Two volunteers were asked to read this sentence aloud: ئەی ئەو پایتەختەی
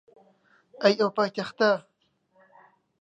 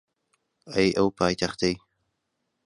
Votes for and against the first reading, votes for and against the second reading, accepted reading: 1, 2, 2, 0, second